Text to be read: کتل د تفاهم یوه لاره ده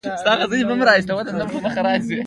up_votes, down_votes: 1, 2